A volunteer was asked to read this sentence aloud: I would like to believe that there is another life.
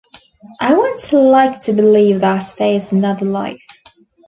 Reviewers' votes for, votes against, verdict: 0, 2, rejected